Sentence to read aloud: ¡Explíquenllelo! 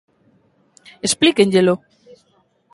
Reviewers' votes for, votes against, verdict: 2, 0, accepted